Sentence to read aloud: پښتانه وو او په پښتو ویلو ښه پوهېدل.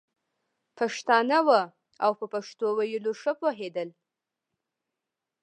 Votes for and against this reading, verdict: 1, 2, rejected